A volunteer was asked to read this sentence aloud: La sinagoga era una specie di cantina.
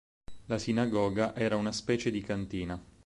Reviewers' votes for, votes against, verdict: 4, 0, accepted